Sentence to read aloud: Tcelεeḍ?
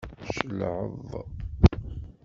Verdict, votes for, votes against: rejected, 0, 2